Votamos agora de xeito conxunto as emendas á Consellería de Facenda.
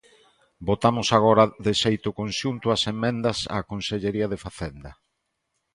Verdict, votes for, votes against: rejected, 1, 2